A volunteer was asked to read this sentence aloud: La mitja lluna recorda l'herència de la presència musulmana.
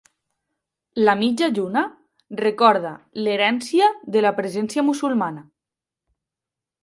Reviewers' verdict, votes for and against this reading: accepted, 2, 0